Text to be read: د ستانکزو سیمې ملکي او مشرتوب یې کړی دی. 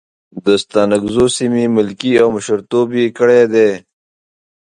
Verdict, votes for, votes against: accepted, 2, 0